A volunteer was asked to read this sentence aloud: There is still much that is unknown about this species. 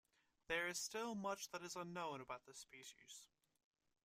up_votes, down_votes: 0, 2